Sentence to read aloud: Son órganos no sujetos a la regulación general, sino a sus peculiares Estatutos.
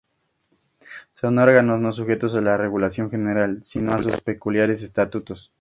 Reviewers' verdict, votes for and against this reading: accepted, 2, 0